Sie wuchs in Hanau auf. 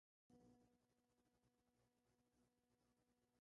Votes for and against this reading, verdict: 0, 2, rejected